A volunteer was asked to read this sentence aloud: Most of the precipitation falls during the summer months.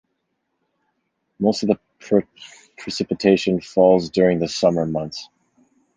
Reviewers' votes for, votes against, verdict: 1, 2, rejected